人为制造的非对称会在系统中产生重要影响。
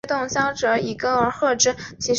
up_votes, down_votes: 1, 3